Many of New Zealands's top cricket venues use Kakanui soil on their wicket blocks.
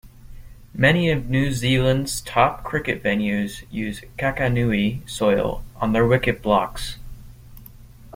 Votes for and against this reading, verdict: 2, 1, accepted